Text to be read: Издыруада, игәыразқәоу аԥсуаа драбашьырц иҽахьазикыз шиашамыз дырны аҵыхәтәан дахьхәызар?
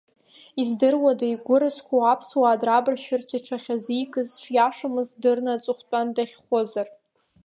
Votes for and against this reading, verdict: 2, 1, accepted